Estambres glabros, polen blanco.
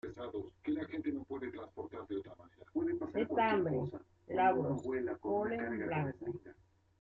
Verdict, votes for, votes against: rejected, 0, 2